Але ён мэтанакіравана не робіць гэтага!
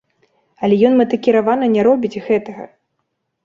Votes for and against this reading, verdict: 0, 2, rejected